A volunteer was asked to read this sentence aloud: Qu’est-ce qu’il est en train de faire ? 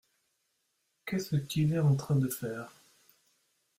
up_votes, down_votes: 0, 2